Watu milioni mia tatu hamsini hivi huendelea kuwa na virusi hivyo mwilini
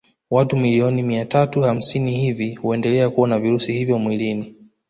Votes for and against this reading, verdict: 0, 2, rejected